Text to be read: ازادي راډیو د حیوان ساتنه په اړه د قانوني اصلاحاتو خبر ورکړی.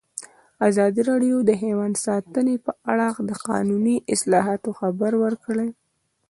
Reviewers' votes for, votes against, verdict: 2, 1, accepted